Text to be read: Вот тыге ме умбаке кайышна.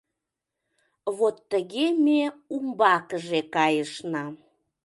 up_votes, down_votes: 0, 2